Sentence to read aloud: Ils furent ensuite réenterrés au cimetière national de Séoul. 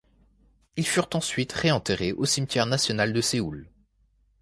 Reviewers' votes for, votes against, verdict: 2, 0, accepted